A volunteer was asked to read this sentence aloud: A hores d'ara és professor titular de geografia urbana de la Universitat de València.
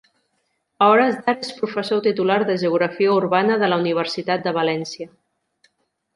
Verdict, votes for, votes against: rejected, 0, 2